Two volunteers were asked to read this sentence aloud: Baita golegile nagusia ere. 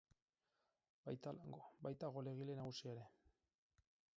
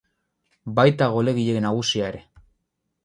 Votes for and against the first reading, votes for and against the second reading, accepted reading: 0, 6, 8, 0, second